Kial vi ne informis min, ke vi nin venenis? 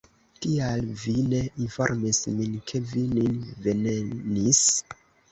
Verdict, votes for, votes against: accepted, 2, 1